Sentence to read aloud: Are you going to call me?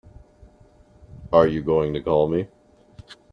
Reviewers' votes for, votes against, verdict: 2, 1, accepted